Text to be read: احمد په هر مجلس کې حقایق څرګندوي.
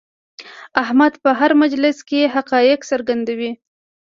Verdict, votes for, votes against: accepted, 2, 0